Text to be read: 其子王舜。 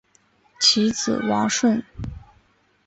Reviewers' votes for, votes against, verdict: 2, 1, accepted